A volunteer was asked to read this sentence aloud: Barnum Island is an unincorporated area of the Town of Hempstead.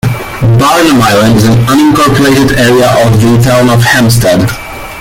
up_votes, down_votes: 0, 2